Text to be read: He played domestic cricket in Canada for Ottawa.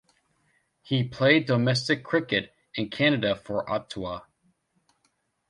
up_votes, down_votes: 2, 0